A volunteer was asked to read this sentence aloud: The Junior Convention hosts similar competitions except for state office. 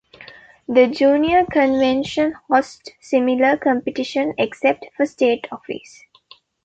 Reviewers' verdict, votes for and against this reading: rejected, 1, 2